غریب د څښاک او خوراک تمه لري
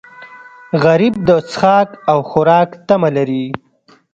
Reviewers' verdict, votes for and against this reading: accepted, 2, 0